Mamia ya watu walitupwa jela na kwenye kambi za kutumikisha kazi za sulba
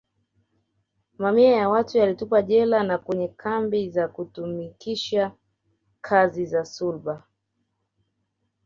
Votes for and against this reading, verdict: 2, 1, accepted